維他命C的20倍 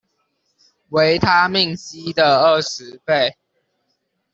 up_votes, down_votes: 0, 2